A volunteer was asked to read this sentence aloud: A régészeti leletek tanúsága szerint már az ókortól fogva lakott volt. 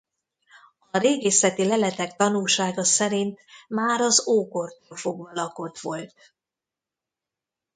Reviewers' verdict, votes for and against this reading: rejected, 1, 2